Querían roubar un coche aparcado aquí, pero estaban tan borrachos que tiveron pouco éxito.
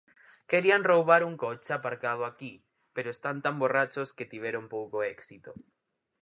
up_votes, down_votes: 0, 4